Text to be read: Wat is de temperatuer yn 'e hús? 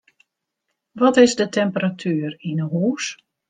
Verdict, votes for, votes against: rejected, 0, 2